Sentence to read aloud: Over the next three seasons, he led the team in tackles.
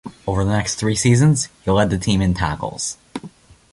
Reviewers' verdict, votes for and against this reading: accepted, 2, 1